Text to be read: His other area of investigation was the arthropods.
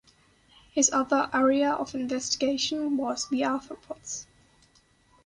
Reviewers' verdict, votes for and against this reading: accepted, 3, 0